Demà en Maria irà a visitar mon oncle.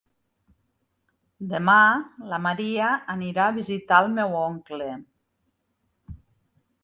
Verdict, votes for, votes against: rejected, 1, 2